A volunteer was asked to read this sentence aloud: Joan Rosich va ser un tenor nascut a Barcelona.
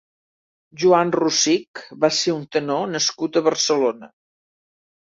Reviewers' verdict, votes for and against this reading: accepted, 3, 0